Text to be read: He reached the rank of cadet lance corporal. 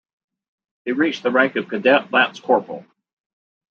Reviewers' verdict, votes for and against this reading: rejected, 1, 2